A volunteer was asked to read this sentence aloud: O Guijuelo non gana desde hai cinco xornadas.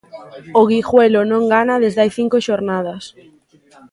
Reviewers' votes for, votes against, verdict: 2, 0, accepted